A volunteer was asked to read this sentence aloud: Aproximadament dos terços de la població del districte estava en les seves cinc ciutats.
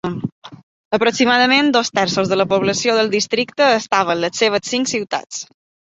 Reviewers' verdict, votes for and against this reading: accepted, 2, 1